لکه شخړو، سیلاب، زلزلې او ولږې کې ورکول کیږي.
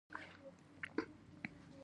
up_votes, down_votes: 2, 0